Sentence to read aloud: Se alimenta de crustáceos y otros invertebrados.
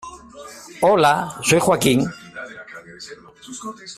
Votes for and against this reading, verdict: 0, 2, rejected